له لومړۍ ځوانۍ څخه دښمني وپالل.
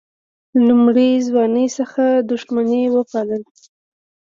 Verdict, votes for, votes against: accepted, 2, 0